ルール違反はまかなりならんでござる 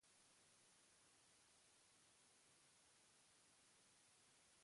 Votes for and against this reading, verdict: 0, 2, rejected